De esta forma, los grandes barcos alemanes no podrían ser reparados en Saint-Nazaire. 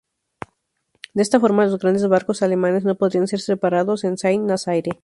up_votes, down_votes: 0, 2